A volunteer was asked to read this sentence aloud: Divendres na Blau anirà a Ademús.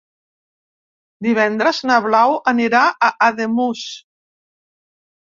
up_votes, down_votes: 3, 0